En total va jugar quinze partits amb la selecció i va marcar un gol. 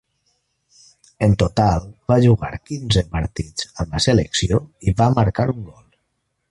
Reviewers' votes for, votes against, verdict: 1, 2, rejected